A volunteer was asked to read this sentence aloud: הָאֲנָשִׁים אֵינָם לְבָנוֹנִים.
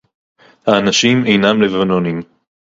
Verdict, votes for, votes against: accepted, 2, 0